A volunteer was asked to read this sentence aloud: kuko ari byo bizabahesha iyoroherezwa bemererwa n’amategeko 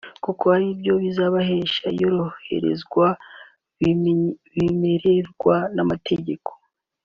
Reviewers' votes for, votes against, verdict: 0, 4, rejected